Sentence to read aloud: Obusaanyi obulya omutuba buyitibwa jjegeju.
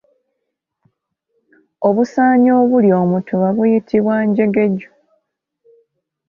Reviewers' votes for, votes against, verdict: 1, 3, rejected